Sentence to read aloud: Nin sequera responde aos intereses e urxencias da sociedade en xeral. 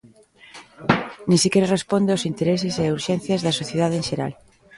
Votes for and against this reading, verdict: 1, 2, rejected